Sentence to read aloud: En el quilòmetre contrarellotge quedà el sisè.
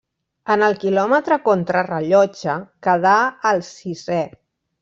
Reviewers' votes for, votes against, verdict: 2, 0, accepted